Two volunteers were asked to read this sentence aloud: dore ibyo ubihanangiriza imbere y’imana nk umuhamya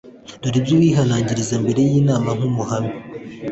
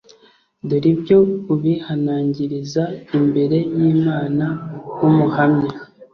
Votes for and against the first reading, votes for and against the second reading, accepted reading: 1, 2, 3, 0, second